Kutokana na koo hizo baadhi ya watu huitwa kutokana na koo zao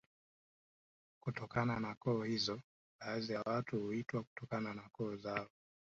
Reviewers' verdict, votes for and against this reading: rejected, 0, 2